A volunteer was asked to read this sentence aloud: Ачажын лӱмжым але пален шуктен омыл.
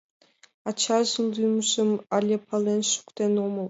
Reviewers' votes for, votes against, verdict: 2, 0, accepted